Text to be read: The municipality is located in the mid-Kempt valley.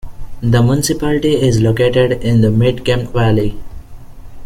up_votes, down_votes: 2, 0